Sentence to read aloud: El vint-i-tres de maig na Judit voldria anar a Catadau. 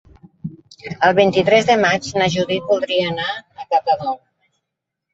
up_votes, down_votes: 2, 3